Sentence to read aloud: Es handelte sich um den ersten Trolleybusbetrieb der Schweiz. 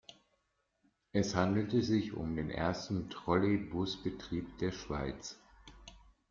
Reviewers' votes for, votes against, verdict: 2, 0, accepted